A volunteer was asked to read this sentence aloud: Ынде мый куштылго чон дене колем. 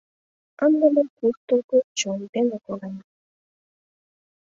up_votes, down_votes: 2, 1